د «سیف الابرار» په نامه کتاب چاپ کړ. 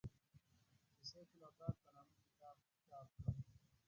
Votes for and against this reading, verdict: 0, 2, rejected